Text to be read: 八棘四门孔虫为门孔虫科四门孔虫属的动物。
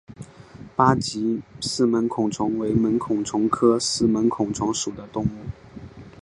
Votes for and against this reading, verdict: 2, 0, accepted